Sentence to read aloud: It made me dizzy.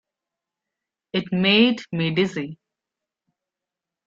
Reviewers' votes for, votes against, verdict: 3, 0, accepted